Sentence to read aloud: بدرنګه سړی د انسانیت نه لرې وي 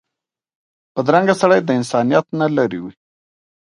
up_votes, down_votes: 2, 0